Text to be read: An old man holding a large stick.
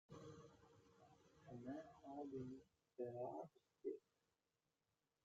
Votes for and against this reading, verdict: 0, 4, rejected